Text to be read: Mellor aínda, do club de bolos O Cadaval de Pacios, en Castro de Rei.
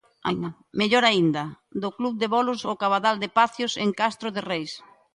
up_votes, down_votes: 0, 2